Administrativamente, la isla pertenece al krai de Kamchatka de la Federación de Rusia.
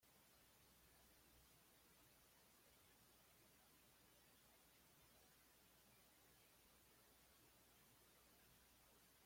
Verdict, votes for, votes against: rejected, 1, 2